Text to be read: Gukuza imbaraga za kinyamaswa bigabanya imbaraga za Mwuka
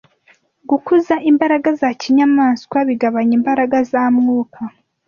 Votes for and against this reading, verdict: 2, 0, accepted